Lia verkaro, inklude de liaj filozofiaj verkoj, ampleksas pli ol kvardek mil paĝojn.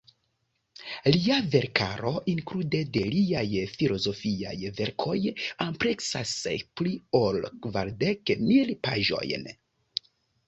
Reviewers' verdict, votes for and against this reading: accepted, 3, 0